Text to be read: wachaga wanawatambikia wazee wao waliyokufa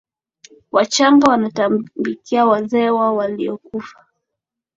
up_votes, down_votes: 2, 0